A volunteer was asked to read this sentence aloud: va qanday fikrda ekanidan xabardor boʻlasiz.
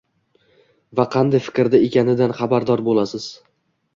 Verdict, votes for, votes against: rejected, 1, 2